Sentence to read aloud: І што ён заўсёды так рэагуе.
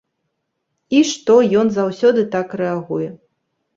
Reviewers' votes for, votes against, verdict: 2, 0, accepted